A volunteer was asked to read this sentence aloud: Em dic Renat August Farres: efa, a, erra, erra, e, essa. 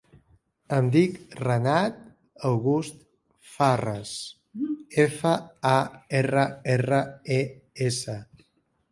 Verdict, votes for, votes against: rejected, 1, 3